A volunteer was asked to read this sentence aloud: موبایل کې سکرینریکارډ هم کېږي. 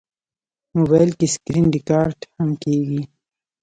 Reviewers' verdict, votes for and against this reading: accepted, 2, 0